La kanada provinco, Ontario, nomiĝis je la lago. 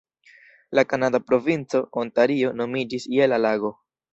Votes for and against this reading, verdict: 2, 0, accepted